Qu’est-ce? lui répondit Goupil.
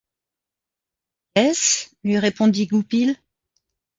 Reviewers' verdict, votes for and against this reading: rejected, 1, 2